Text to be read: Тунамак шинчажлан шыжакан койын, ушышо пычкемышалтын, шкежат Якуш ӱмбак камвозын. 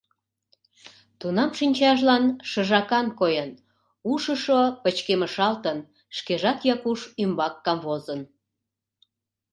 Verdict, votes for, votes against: rejected, 0, 2